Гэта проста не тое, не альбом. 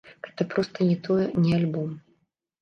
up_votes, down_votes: 2, 1